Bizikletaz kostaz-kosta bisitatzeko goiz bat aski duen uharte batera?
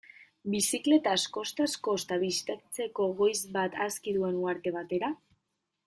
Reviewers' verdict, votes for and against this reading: rejected, 1, 2